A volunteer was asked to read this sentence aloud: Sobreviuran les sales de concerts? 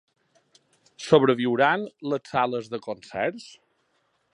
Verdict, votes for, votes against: accepted, 4, 0